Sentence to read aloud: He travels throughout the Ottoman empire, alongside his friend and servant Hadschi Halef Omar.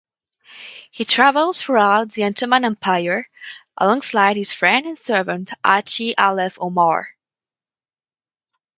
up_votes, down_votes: 0, 2